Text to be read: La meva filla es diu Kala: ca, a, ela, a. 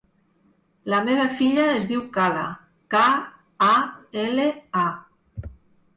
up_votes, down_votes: 0, 2